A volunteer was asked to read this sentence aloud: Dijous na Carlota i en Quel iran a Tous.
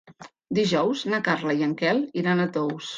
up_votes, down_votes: 1, 2